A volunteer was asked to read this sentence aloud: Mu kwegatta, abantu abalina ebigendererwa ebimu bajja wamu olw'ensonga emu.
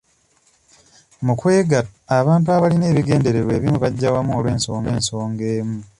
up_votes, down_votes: 1, 2